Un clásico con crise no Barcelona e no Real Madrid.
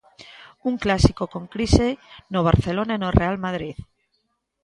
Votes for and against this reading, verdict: 2, 0, accepted